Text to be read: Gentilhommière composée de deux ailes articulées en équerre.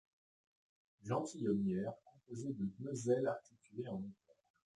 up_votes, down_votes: 1, 2